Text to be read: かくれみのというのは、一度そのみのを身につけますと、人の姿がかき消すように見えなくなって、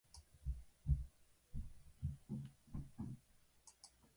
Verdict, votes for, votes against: rejected, 1, 2